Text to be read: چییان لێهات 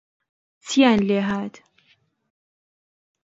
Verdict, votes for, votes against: rejected, 1, 2